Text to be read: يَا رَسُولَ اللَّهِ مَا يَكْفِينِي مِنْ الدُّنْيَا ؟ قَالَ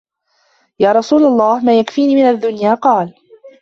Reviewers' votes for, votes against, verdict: 0, 2, rejected